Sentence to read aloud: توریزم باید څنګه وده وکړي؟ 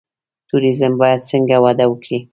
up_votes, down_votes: 3, 0